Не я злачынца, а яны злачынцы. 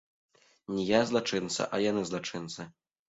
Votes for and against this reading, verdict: 2, 0, accepted